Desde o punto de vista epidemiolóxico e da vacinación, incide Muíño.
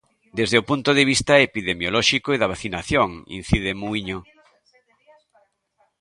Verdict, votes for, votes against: rejected, 1, 2